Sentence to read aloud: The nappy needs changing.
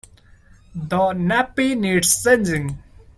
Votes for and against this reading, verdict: 1, 2, rejected